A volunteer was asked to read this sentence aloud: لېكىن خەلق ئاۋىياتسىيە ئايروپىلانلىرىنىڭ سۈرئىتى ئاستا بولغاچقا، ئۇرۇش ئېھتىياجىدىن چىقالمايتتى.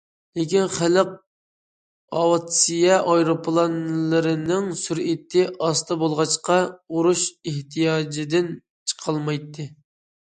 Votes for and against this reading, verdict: 0, 2, rejected